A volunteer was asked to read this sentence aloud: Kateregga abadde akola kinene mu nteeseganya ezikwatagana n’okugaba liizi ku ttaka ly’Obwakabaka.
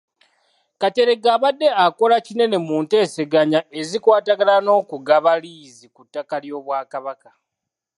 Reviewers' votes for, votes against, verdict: 2, 0, accepted